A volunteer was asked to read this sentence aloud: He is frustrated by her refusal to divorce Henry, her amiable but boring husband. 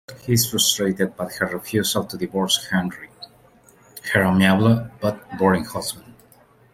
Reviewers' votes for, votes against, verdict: 2, 1, accepted